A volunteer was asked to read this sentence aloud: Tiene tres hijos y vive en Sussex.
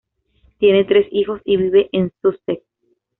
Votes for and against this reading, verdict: 2, 0, accepted